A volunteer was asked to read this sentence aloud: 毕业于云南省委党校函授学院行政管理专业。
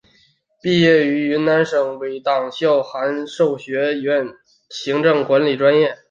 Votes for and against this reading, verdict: 3, 0, accepted